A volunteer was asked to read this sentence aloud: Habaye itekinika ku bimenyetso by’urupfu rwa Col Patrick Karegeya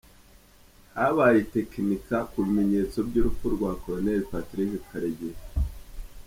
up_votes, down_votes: 3, 0